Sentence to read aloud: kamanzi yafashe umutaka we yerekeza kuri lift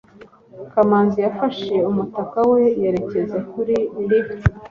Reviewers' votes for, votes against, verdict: 2, 0, accepted